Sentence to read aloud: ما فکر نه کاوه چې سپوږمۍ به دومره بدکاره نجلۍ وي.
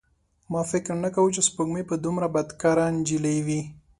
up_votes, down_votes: 3, 0